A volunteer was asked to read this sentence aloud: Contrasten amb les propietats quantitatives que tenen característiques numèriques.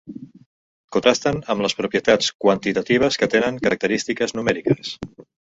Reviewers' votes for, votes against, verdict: 1, 2, rejected